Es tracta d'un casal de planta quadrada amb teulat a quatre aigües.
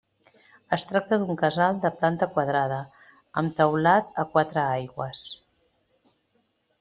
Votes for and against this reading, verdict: 3, 0, accepted